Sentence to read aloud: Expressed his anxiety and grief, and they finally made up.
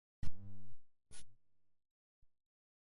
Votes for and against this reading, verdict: 0, 2, rejected